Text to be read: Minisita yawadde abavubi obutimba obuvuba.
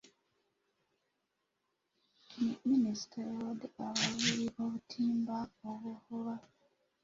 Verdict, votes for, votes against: rejected, 1, 2